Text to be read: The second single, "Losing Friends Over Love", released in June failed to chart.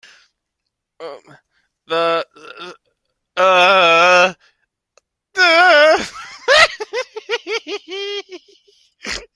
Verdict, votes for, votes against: rejected, 0, 2